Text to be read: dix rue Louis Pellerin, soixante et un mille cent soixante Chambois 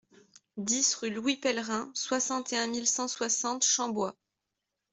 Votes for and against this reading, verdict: 2, 0, accepted